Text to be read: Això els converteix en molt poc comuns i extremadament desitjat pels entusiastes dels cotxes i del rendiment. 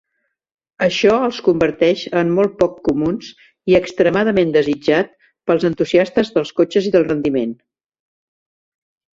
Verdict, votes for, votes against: rejected, 0, 2